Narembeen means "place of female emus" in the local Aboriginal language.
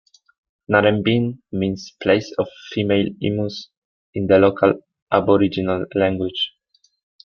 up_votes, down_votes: 2, 1